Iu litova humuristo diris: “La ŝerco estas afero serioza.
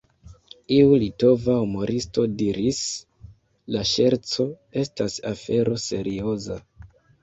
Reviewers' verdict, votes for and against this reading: rejected, 0, 2